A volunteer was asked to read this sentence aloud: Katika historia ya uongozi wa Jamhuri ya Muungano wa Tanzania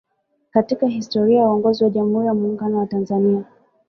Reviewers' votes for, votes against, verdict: 2, 1, accepted